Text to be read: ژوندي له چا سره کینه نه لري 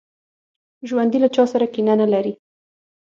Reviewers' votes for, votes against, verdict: 6, 0, accepted